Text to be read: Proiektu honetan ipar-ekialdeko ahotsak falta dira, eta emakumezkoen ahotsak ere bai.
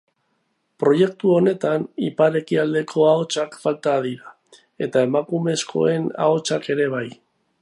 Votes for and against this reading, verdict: 2, 0, accepted